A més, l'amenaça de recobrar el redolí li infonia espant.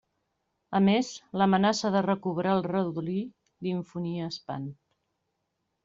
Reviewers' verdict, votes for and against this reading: accepted, 2, 1